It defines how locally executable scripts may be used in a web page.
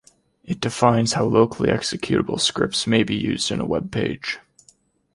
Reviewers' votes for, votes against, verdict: 2, 1, accepted